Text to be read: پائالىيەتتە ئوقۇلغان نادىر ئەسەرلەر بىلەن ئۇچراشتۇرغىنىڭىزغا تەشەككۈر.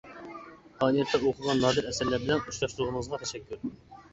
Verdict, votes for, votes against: rejected, 0, 2